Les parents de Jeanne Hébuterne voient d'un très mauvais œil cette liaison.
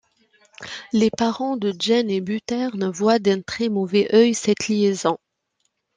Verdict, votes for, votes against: rejected, 1, 2